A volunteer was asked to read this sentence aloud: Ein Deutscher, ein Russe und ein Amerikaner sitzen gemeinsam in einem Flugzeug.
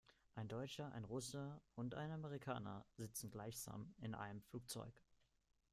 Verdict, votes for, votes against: accepted, 2, 1